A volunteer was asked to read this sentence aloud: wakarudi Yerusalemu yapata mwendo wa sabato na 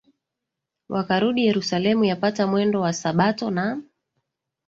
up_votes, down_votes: 1, 2